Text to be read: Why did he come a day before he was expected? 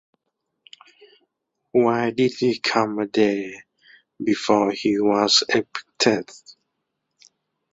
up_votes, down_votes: 0, 2